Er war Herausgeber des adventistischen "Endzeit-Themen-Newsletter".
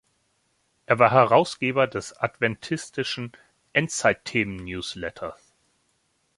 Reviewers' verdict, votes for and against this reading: accepted, 2, 0